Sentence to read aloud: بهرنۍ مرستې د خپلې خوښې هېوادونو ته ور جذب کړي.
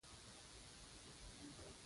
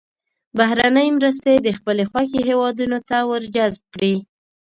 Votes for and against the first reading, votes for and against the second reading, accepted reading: 0, 2, 2, 0, second